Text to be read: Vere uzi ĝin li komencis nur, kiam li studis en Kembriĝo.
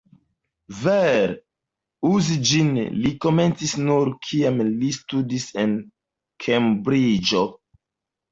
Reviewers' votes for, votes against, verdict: 1, 2, rejected